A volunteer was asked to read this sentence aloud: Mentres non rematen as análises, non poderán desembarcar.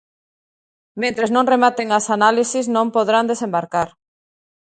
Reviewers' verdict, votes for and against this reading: rejected, 0, 2